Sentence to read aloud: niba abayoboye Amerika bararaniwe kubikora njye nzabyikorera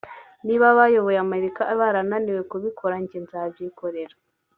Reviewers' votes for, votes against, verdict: 3, 0, accepted